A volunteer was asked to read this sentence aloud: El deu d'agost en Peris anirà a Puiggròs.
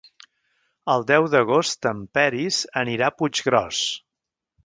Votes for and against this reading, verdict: 3, 0, accepted